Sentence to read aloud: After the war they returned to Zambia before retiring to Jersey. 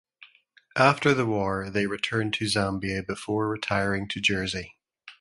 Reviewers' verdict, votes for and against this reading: accepted, 2, 0